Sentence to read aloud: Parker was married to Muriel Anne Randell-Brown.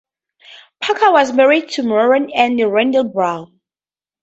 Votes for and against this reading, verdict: 4, 0, accepted